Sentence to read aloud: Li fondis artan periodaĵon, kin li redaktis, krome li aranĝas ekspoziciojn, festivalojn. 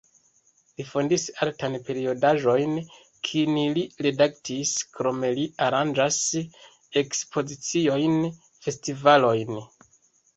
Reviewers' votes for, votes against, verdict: 2, 1, accepted